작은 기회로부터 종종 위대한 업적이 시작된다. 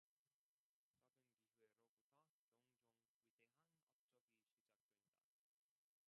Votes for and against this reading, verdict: 0, 2, rejected